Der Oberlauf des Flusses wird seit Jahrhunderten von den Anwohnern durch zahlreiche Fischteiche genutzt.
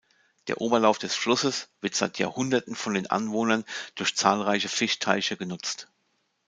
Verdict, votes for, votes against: accepted, 2, 0